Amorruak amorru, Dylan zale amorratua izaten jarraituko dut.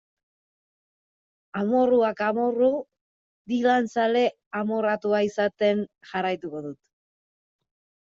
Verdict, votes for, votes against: rejected, 1, 2